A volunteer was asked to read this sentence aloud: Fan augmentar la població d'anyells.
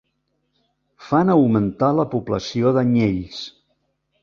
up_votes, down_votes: 5, 0